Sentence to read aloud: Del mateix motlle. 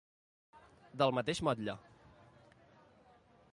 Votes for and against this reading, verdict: 2, 0, accepted